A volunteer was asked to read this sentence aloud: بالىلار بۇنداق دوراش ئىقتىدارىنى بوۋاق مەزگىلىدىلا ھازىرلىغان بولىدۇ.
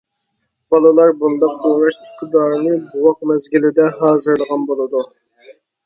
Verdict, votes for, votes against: rejected, 1, 2